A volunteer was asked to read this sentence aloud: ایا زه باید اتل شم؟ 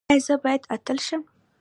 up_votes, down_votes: 2, 0